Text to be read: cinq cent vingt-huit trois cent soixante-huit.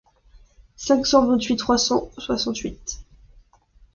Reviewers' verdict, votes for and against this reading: accepted, 2, 0